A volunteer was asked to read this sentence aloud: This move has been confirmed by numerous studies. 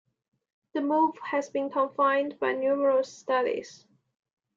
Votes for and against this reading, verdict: 0, 2, rejected